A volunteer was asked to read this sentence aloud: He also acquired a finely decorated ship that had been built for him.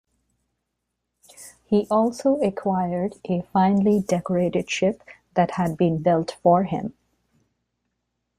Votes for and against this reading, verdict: 2, 0, accepted